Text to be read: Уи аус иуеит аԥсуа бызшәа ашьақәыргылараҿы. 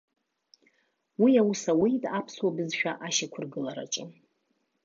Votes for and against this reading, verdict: 1, 2, rejected